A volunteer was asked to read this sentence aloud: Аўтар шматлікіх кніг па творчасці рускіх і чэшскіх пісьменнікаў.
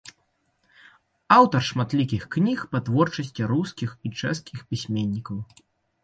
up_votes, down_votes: 2, 0